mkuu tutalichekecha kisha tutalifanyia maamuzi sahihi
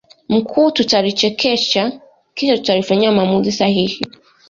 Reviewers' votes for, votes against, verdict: 2, 1, accepted